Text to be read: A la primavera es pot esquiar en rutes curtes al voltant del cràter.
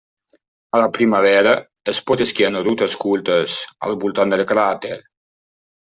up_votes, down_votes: 2, 0